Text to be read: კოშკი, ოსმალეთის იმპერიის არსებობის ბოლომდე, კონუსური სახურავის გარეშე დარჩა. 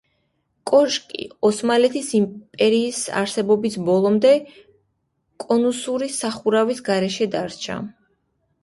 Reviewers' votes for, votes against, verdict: 1, 2, rejected